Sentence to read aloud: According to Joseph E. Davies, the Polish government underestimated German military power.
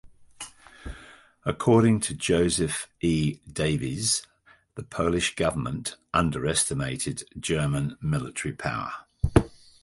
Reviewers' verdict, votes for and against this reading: accepted, 2, 0